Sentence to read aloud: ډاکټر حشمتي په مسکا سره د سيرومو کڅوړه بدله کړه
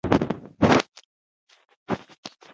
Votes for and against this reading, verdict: 1, 2, rejected